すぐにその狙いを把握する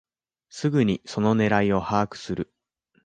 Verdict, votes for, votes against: accepted, 2, 0